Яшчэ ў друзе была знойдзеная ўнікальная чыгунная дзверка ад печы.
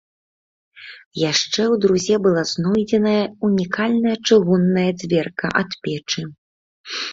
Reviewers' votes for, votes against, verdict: 2, 0, accepted